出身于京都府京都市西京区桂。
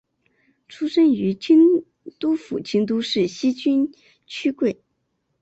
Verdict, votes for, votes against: accepted, 4, 0